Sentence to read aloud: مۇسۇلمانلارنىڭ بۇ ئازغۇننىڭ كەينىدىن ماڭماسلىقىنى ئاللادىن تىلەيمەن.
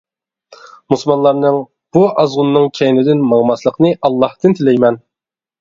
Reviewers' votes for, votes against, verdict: 0, 2, rejected